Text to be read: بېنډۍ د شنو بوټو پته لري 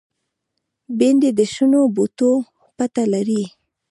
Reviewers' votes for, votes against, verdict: 0, 2, rejected